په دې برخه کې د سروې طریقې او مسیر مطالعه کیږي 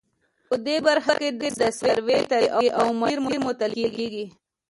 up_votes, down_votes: 1, 2